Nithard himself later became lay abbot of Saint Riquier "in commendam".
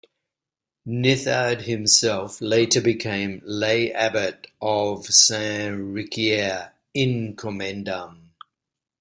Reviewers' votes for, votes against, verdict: 0, 2, rejected